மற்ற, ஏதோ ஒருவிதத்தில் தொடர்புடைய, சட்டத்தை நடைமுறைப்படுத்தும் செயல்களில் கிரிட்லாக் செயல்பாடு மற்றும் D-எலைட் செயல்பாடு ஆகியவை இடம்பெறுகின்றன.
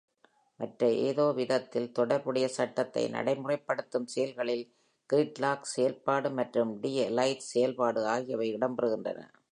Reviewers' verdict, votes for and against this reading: accepted, 2, 0